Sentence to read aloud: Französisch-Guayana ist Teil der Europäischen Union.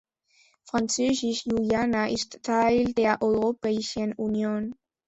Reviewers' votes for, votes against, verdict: 2, 0, accepted